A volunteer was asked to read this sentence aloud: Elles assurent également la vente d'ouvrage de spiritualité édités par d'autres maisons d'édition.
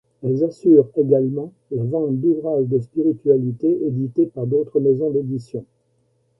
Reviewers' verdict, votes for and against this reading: accepted, 2, 0